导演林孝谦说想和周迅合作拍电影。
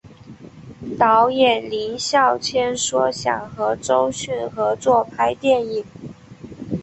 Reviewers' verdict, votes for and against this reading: accepted, 8, 0